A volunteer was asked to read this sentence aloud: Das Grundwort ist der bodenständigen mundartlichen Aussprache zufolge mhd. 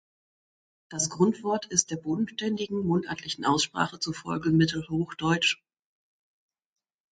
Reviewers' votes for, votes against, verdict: 2, 0, accepted